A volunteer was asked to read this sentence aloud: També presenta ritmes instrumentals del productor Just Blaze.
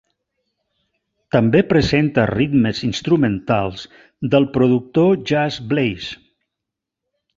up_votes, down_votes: 2, 0